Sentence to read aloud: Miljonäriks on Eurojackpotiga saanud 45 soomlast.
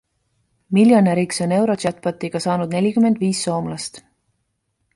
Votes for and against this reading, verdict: 0, 2, rejected